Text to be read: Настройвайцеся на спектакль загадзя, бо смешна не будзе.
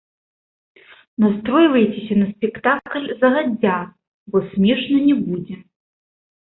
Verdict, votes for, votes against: rejected, 0, 2